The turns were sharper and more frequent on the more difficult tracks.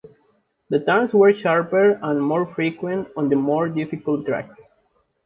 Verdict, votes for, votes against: accepted, 2, 0